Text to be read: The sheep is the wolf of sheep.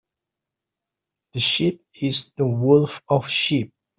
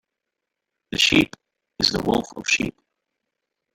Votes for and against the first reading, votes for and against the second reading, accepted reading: 2, 0, 1, 2, first